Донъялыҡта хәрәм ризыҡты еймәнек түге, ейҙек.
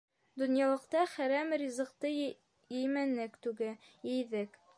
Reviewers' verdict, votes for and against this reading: rejected, 1, 2